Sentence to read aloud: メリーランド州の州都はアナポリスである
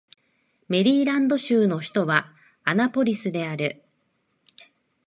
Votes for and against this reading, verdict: 1, 2, rejected